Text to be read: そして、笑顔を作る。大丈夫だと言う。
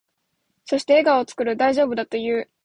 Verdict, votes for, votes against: accepted, 2, 0